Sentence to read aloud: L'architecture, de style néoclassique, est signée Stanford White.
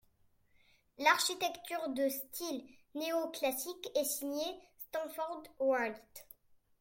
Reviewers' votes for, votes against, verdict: 2, 1, accepted